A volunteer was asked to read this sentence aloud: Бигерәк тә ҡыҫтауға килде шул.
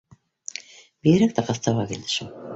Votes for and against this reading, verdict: 2, 0, accepted